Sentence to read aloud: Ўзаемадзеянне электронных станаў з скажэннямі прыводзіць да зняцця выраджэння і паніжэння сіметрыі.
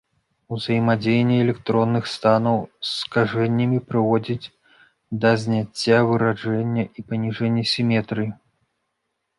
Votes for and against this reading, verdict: 1, 2, rejected